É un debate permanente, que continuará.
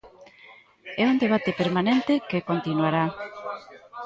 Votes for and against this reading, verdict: 2, 1, accepted